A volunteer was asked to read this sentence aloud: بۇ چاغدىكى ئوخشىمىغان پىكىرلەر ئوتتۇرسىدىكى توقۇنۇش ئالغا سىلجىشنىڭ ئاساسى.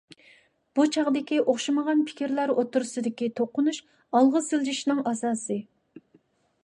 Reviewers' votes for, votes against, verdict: 2, 0, accepted